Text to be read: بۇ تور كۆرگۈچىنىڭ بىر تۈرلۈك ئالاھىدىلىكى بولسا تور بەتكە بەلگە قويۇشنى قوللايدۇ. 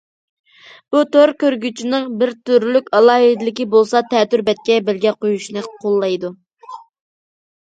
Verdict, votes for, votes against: rejected, 1, 2